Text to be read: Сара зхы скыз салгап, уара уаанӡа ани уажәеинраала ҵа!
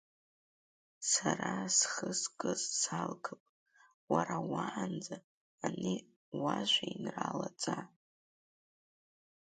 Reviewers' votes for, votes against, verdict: 2, 0, accepted